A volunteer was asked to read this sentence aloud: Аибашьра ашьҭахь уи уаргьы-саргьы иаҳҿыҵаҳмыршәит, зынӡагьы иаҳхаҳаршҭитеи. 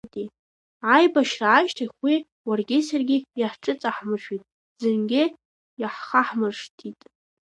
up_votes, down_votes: 1, 2